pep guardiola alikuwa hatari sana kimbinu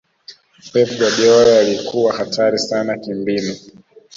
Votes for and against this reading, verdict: 2, 0, accepted